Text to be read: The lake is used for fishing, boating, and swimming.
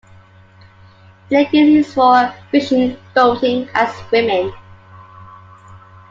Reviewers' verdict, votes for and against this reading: rejected, 0, 2